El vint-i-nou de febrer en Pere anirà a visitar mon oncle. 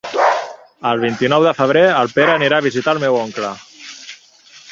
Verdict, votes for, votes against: rejected, 0, 2